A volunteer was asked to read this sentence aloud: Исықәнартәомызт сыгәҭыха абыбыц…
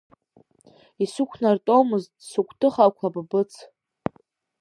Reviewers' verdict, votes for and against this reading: rejected, 0, 2